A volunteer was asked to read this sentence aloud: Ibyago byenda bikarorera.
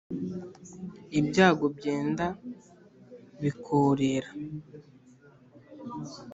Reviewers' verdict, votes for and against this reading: rejected, 0, 2